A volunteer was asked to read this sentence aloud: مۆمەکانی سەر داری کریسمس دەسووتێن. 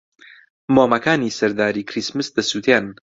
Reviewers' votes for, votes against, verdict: 2, 0, accepted